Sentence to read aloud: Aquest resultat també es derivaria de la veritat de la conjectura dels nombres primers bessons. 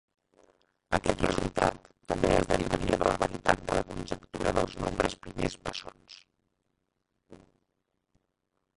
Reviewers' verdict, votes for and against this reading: rejected, 0, 2